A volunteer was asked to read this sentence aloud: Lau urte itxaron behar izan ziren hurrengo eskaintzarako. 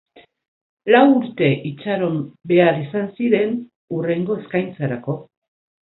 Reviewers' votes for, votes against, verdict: 6, 0, accepted